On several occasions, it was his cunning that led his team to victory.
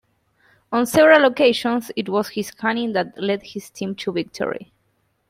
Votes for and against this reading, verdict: 2, 0, accepted